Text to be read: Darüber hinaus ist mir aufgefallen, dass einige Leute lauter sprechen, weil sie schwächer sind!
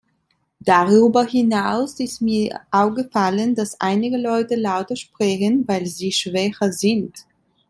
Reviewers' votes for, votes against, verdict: 2, 1, accepted